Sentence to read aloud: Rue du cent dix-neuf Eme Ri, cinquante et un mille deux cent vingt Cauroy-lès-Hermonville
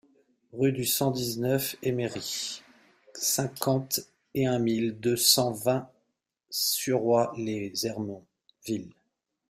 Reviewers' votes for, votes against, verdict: 1, 2, rejected